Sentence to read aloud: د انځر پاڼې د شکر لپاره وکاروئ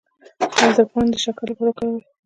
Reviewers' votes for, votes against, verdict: 0, 2, rejected